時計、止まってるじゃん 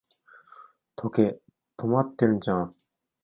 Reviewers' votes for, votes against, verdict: 1, 2, rejected